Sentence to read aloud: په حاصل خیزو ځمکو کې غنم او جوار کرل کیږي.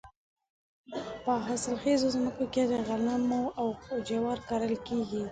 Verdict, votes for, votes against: rejected, 1, 2